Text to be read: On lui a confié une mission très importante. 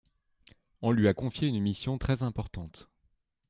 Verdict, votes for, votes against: accepted, 2, 0